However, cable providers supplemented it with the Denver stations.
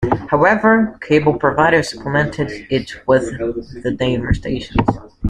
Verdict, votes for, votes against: rejected, 0, 2